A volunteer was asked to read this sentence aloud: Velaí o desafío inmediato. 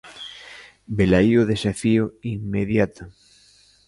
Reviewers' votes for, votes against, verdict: 2, 0, accepted